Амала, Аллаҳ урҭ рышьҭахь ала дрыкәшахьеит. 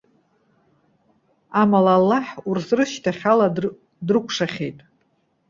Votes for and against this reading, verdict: 1, 2, rejected